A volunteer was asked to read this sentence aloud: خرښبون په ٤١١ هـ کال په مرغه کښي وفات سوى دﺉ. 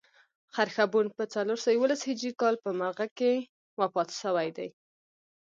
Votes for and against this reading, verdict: 0, 2, rejected